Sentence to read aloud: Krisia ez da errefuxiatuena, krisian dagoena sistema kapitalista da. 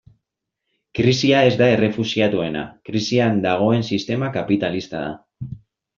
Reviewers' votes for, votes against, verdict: 1, 2, rejected